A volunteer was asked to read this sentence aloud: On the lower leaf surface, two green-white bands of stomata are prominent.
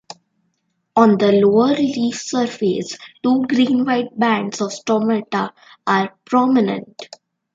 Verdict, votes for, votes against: accepted, 2, 0